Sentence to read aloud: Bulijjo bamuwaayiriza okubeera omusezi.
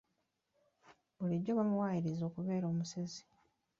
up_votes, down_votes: 2, 1